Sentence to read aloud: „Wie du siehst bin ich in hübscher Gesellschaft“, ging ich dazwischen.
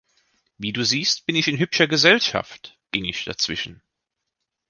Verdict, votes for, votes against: accepted, 2, 0